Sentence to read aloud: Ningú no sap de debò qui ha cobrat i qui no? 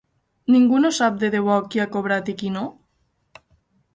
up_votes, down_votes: 0, 4